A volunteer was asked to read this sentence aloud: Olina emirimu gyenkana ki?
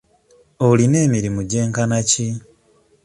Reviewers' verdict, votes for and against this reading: accepted, 2, 0